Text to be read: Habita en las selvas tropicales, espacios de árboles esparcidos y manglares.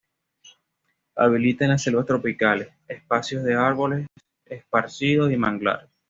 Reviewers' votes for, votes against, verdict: 1, 2, rejected